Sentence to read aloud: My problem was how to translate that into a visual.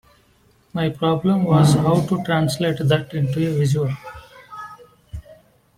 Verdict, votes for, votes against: rejected, 0, 2